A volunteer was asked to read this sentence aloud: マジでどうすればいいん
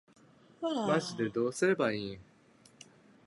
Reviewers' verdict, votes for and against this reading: accepted, 2, 0